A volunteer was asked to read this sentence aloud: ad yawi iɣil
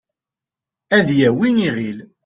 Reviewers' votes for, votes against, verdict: 2, 0, accepted